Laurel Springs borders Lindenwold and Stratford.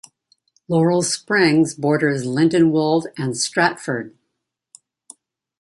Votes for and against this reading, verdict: 2, 0, accepted